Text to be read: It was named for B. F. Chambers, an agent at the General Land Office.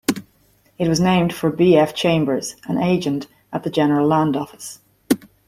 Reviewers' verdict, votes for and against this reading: accepted, 2, 0